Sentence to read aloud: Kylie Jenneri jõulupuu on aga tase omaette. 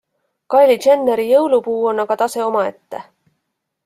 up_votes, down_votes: 2, 0